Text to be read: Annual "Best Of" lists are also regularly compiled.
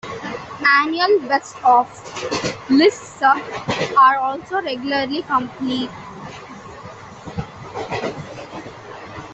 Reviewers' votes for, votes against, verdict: 0, 2, rejected